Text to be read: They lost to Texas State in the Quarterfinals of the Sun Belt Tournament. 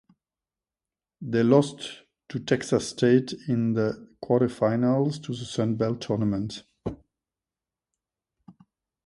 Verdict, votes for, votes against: rejected, 0, 2